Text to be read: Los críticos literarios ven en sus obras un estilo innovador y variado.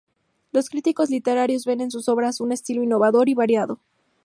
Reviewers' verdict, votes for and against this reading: accepted, 4, 0